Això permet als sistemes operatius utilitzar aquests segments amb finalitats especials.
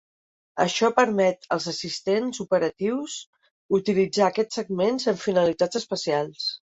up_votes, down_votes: 0, 2